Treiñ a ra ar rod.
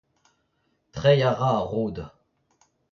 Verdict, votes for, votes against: rejected, 0, 2